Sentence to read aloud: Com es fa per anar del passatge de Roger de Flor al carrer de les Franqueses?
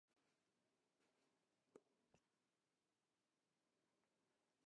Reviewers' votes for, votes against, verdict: 0, 2, rejected